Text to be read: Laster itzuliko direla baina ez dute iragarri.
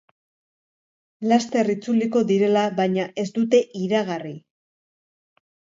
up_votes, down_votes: 2, 0